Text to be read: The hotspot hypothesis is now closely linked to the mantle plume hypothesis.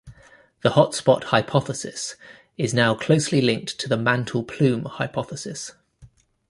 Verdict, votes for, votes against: accepted, 2, 0